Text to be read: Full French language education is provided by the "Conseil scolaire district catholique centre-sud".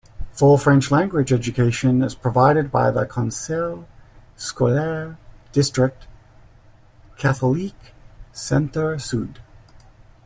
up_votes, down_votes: 0, 2